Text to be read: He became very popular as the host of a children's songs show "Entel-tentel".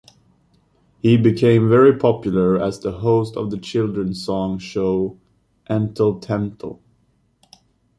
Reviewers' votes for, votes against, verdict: 2, 0, accepted